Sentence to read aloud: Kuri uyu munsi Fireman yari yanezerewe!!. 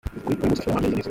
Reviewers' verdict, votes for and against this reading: rejected, 0, 2